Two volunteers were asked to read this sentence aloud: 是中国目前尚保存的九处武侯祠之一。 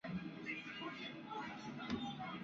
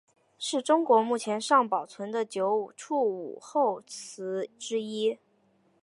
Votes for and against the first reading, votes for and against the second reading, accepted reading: 1, 6, 2, 0, second